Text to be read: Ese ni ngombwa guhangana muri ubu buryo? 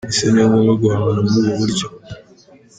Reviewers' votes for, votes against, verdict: 2, 0, accepted